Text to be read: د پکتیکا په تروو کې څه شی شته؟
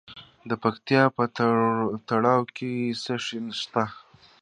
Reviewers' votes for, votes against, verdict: 2, 0, accepted